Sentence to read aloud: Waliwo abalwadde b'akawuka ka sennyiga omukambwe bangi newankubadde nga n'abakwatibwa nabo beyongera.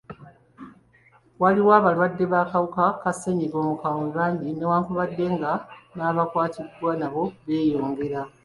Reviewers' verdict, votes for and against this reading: accepted, 2, 1